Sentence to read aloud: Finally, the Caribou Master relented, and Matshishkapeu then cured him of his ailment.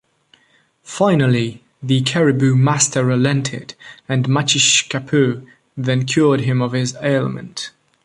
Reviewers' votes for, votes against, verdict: 2, 0, accepted